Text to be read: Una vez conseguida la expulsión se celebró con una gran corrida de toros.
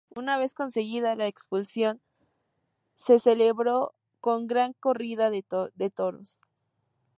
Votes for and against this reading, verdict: 0, 2, rejected